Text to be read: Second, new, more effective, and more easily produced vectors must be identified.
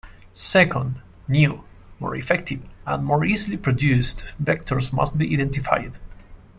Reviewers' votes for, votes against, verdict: 2, 0, accepted